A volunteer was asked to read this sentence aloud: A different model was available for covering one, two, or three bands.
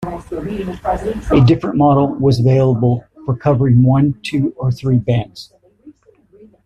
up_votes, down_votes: 2, 0